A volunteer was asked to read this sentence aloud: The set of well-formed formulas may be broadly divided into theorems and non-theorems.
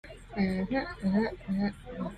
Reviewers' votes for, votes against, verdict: 0, 2, rejected